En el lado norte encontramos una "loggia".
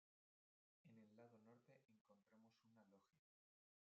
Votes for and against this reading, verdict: 0, 2, rejected